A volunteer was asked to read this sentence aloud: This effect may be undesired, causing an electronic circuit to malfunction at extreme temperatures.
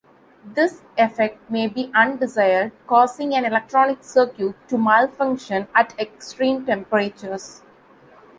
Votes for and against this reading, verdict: 2, 0, accepted